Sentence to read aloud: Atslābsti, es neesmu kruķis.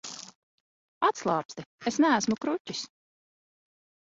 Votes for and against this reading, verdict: 0, 2, rejected